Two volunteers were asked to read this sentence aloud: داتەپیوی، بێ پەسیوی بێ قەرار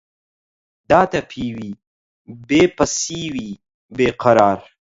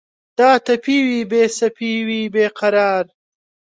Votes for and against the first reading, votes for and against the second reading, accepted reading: 4, 0, 0, 2, first